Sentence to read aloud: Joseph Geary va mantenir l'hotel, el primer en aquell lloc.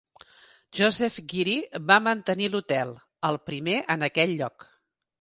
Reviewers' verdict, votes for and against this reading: accepted, 5, 0